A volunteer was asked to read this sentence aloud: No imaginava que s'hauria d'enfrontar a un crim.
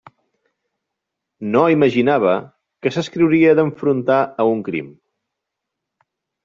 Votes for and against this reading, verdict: 0, 2, rejected